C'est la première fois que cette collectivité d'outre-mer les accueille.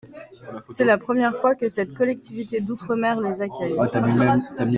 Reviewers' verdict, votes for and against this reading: rejected, 0, 2